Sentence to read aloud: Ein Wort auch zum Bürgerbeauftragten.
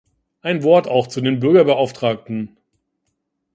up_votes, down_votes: 1, 2